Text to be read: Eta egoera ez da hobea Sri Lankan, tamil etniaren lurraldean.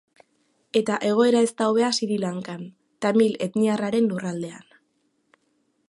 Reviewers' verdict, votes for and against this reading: rejected, 1, 2